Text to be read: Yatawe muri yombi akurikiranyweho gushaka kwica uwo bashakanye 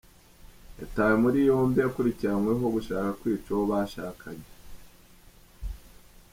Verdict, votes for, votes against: accepted, 2, 0